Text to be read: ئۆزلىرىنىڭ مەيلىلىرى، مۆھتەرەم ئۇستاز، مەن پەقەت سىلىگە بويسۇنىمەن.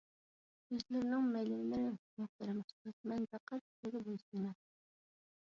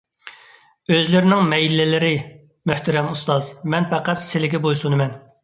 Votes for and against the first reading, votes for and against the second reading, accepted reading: 0, 2, 2, 0, second